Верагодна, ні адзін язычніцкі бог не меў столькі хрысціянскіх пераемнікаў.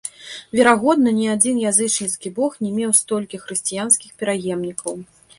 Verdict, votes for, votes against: accepted, 2, 0